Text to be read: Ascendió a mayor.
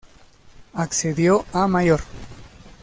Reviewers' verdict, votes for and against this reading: rejected, 0, 2